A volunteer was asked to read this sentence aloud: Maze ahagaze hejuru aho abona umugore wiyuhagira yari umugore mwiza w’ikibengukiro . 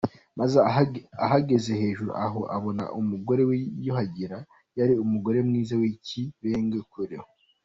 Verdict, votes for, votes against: rejected, 1, 2